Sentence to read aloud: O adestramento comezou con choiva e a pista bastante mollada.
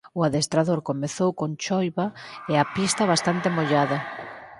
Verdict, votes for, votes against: accepted, 4, 2